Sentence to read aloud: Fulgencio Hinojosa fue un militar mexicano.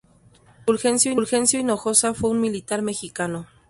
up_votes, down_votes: 0, 2